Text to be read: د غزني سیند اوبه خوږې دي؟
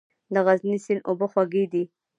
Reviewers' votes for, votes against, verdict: 2, 0, accepted